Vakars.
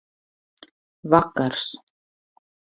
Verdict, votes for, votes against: accepted, 4, 0